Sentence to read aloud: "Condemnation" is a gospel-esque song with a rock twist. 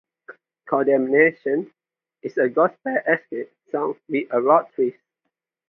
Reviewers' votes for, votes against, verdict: 0, 2, rejected